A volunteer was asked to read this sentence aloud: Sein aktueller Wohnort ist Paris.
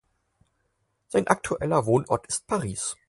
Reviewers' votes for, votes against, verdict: 4, 0, accepted